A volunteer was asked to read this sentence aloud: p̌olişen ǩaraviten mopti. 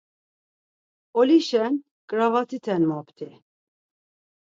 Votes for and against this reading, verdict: 0, 4, rejected